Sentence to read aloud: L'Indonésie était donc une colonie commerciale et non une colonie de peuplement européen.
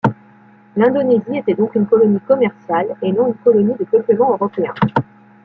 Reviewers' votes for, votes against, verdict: 1, 2, rejected